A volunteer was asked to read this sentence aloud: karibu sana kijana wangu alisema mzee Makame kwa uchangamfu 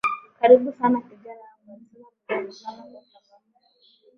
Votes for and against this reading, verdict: 1, 2, rejected